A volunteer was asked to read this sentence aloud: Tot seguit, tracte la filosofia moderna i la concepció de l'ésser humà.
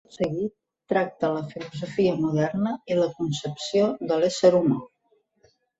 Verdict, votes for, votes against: accepted, 2, 0